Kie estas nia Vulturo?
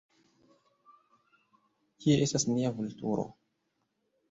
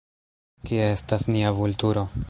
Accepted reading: second